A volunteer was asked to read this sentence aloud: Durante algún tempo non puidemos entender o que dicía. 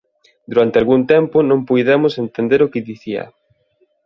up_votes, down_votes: 2, 0